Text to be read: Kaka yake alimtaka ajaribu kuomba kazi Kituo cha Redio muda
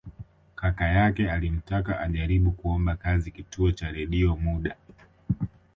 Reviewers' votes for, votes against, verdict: 4, 1, accepted